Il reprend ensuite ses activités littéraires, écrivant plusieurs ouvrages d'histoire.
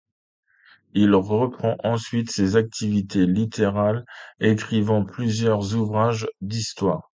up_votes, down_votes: 0, 2